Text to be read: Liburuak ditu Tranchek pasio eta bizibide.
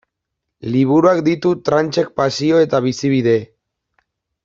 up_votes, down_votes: 2, 0